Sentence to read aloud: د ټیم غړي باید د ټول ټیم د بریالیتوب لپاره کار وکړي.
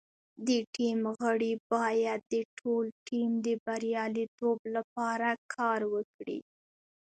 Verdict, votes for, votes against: rejected, 0, 2